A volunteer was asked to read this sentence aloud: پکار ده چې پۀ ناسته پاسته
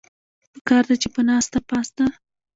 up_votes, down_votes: 2, 0